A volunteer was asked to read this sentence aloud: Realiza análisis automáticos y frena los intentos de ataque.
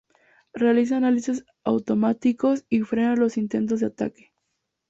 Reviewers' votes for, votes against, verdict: 2, 0, accepted